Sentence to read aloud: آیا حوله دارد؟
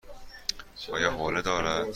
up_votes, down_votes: 2, 0